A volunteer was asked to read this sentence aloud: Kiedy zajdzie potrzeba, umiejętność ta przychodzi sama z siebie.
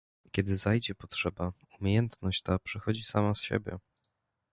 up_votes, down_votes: 2, 0